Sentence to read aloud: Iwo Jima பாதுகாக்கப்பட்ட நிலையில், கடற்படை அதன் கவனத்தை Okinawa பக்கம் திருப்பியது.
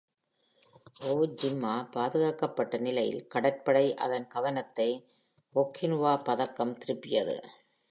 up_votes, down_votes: 1, 2